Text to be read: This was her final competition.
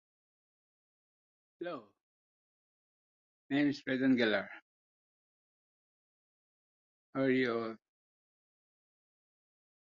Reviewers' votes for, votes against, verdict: 0, 2, rejected